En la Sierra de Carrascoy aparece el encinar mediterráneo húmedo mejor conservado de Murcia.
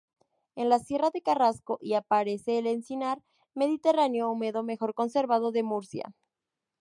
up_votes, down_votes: 0, 2